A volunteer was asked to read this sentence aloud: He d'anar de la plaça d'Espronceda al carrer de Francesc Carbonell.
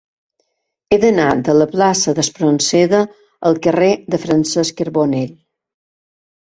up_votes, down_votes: 2, 1